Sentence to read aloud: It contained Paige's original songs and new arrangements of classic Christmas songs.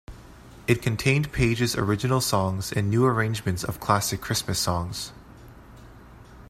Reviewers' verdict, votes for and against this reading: accepted, 2, 0